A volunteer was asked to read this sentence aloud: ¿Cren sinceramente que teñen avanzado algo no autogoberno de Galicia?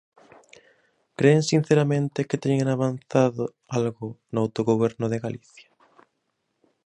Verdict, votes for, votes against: rejected, 1, 2